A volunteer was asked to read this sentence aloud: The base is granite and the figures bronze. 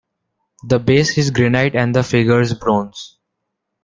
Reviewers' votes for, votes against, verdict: 2, 0, accepted